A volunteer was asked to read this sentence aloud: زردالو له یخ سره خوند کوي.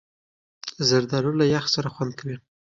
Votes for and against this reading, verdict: 2, 0, accepted